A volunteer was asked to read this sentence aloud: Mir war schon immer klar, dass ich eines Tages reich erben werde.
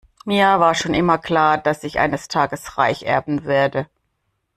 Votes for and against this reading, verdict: 2, 0, accepted